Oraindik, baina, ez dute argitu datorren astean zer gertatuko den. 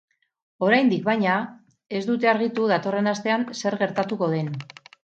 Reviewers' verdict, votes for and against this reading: accepted, 2, 0